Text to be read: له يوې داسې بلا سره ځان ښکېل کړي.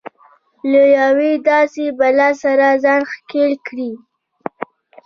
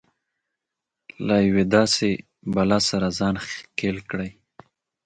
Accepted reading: second